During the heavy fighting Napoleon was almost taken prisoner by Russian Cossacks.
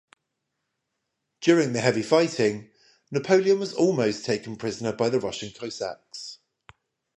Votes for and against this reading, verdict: 0, 5, rejected